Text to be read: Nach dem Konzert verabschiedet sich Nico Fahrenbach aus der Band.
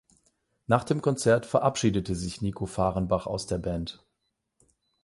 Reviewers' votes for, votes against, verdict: 4, 8, rejected